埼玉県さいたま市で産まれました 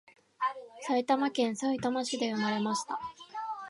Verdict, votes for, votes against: rejected, 1, 2